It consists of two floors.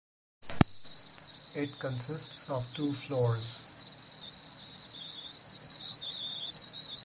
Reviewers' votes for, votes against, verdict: 4, 0, accepted